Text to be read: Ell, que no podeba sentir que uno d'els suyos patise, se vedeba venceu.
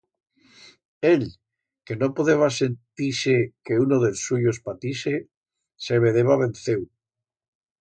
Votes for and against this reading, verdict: 1, 2, rejected